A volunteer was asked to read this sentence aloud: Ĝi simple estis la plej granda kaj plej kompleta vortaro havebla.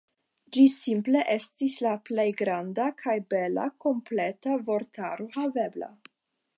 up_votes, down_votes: 0, 5